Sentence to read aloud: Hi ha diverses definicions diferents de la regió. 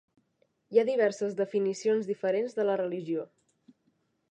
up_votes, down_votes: 0, 2